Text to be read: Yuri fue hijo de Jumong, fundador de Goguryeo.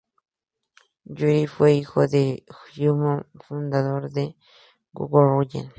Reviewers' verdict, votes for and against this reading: rejected, 0, 2